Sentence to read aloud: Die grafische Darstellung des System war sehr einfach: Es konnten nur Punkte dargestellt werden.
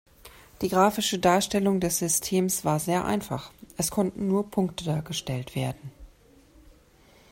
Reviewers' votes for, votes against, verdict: 1, 2, rejected